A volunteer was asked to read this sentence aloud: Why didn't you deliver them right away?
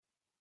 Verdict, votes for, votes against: rejected, 0, 4